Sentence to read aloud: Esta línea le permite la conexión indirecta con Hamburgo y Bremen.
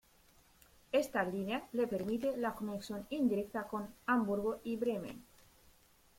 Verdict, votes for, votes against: rejected, 1, 2